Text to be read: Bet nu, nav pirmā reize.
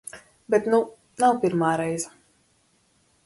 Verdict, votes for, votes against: accepted, 4, 0